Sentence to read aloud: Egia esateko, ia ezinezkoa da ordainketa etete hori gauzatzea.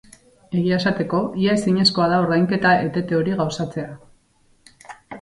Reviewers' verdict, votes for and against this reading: accepted, 6, 0